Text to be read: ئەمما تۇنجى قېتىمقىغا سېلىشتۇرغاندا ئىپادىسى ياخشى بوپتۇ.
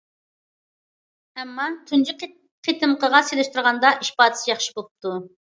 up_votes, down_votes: 0, 2